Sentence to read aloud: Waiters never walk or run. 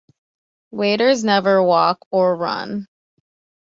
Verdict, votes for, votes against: accepted, 2, 0